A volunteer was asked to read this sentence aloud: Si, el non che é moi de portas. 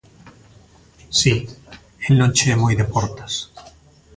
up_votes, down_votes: 2, 0